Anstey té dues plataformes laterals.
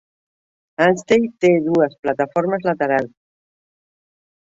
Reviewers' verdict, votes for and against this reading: rejected, 0, 2